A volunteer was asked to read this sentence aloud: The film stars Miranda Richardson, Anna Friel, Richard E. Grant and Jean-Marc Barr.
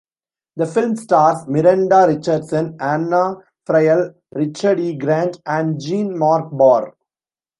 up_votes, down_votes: 1, 2